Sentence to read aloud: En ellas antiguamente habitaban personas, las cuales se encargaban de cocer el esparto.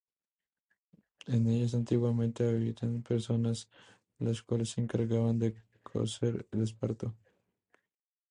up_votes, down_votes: 2, 0